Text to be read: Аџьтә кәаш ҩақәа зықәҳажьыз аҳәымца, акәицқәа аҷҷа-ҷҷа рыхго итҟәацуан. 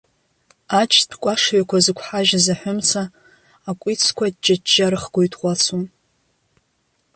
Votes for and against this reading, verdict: 2, 0, accepted